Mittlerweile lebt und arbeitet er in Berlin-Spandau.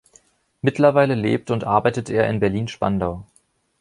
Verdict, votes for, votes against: accepted, 2, 0